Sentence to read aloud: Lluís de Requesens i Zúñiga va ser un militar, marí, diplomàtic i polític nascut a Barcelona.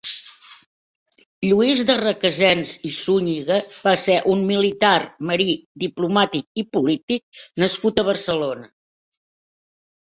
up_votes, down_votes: 3, 0